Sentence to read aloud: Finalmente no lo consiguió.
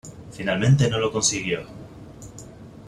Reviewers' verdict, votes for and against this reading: accepted, 2, 0